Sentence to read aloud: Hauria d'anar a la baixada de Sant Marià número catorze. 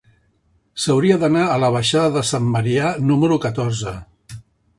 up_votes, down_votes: 0, 2